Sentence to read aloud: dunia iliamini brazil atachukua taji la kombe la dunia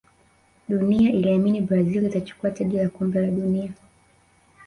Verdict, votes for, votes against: accepted, 2, 1